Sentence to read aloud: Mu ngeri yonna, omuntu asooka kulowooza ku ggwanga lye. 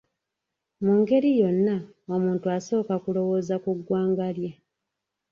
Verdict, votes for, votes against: accepted, 2, 0